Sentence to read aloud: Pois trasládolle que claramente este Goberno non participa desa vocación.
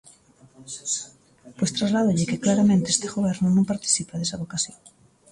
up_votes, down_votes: 2, 0